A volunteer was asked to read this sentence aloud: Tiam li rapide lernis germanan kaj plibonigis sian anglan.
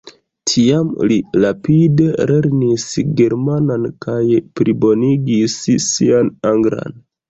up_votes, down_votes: 2, 0